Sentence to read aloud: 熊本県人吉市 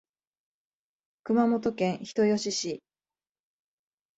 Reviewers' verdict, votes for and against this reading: accepted, 4, 0